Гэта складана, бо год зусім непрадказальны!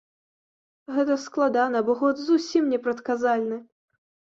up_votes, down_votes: 0, 2